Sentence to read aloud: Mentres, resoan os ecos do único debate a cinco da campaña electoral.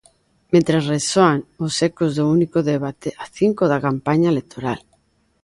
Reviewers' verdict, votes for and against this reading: accepted, 2, 0